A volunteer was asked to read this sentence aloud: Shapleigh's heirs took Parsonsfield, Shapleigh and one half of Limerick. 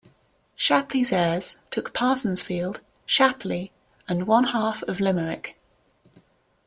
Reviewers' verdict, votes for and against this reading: accepted, 2, 0